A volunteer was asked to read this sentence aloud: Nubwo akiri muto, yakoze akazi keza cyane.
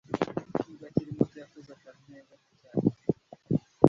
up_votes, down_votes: 1, 2